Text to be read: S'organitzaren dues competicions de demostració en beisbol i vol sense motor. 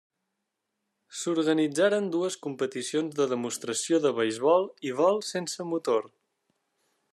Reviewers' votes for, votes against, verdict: 0, 2, rejected